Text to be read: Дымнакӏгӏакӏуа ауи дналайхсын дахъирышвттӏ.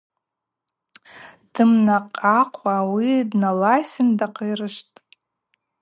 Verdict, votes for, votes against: rejected, 0, 2